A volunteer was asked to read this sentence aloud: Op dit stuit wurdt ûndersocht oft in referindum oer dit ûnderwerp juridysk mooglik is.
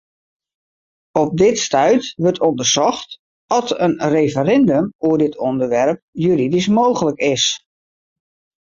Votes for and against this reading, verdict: 2, 2, rejected